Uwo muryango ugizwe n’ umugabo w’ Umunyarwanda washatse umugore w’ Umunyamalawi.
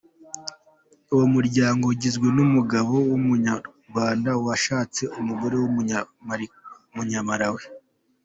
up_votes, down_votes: 0, 2